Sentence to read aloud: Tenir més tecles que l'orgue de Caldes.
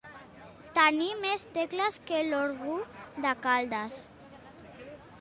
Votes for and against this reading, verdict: 1, 3, rejected